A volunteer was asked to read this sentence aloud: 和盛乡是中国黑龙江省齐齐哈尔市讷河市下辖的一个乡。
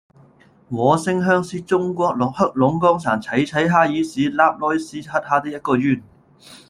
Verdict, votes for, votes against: rejected, 0, 2